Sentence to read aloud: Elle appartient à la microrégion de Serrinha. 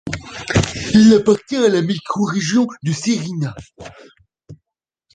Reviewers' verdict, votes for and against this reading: rejected, 1, 2